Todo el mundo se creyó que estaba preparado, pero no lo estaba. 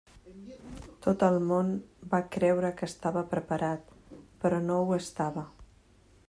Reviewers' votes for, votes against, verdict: 0, 2, rejected